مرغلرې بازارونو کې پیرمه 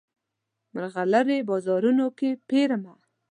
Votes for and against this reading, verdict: 2, 0, accepted